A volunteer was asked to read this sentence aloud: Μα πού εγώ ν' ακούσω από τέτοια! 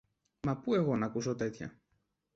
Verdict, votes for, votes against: rejected, 1, 2